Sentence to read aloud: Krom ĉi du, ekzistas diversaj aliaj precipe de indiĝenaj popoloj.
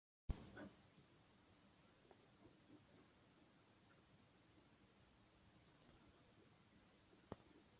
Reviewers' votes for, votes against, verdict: 0, 2, rejected